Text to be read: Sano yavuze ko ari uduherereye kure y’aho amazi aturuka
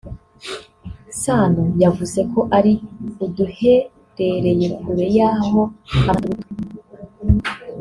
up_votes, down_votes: 0, 3